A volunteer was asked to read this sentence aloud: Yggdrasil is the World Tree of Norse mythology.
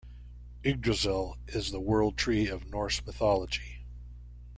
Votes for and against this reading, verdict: 2, 0, accepted